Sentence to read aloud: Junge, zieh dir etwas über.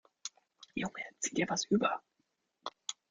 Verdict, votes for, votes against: rejected, 1, 2